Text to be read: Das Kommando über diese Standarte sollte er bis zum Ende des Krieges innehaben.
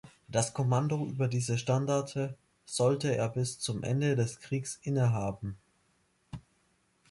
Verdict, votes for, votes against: rejected, 0, 2